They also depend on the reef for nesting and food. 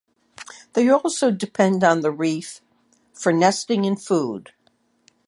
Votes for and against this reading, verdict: 1, 2, rejected